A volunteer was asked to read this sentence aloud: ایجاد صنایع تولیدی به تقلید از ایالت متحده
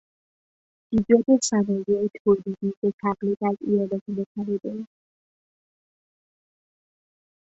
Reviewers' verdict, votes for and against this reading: rejected, 1, 2